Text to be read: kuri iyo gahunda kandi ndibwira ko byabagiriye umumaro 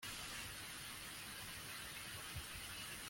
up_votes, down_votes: 0, 2